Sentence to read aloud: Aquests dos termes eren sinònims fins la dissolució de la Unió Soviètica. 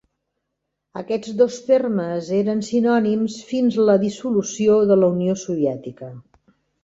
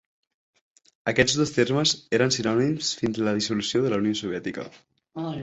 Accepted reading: first